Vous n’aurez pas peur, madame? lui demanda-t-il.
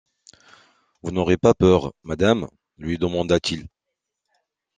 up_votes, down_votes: 2, 0